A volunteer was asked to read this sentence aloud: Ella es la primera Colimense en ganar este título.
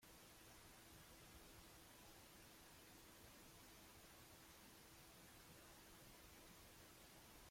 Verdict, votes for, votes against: rejected, 0, 2